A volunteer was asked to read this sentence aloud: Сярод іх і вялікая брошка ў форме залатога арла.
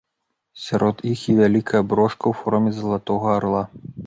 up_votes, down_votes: 2, 0